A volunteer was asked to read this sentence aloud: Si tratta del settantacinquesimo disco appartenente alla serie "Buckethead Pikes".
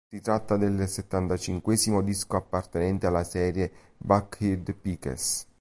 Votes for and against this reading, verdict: 0, 2, rejected